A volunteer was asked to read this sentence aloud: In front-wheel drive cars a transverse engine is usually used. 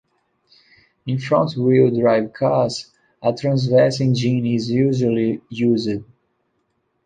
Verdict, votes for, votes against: accepted, 2, 1